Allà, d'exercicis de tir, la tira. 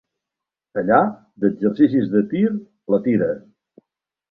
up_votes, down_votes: 2, 0